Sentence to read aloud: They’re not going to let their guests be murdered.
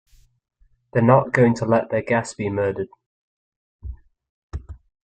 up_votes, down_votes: 2, 0